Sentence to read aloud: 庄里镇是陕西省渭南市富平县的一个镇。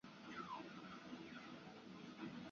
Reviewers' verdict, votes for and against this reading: rejected, 2, 3